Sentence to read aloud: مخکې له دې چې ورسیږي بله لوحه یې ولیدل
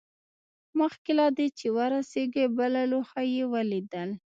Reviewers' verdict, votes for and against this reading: accepted, 2, 1